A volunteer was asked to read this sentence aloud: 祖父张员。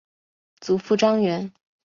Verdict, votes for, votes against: accepted, 2, 0